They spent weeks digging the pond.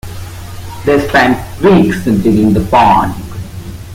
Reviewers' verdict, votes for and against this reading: rejected, 1, 2